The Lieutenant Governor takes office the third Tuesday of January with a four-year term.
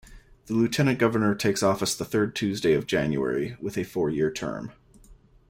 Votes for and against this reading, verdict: 2, 0, accepted